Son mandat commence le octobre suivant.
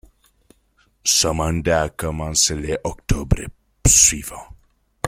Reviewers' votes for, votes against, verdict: 2, 1, accepted